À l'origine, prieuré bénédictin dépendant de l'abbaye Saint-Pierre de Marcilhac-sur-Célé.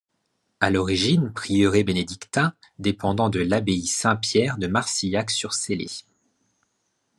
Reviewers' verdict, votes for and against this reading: accepted, 2, 0